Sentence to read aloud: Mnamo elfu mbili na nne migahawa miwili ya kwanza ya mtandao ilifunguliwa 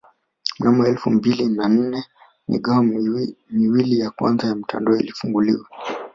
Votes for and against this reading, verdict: 0, 2, rejected